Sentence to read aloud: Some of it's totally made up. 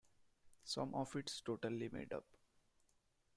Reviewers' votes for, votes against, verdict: 2, 0, accepted